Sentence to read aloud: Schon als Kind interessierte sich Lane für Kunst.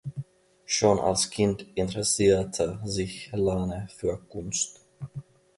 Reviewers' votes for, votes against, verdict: 2, 1, accepted